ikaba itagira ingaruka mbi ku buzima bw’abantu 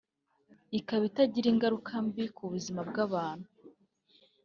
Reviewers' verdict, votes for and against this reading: accepted, 2, 0